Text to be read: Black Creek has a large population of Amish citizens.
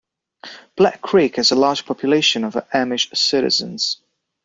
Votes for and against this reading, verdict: 2, 0, accepted